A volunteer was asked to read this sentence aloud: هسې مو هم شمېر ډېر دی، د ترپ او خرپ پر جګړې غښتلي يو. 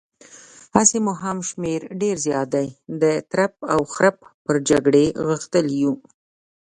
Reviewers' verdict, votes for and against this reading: rejected, 1, 2